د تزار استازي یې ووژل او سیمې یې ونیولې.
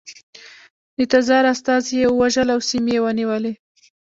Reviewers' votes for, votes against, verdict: 2, 0, accepted